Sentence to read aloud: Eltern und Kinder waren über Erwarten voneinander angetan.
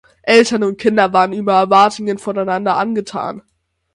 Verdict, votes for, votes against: rejected, 3, 6